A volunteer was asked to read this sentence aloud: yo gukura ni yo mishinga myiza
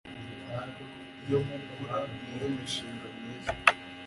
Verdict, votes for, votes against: rejected, 1, 2